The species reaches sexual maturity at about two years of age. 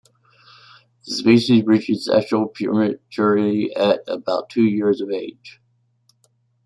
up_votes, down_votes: 0, 2